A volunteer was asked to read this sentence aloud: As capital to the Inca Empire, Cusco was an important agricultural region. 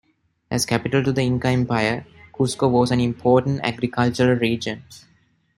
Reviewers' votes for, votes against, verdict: 1, 2, rejected